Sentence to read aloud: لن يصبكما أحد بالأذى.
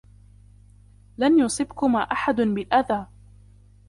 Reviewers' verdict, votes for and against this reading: rejected, 0, 2